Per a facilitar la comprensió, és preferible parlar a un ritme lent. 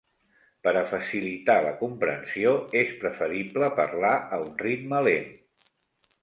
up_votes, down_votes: 3, 0